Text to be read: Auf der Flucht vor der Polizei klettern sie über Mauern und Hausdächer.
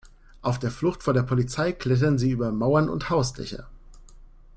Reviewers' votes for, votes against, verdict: 2, 0, accepted